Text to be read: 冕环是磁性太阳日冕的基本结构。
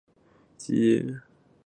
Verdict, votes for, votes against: rejected, 1, 4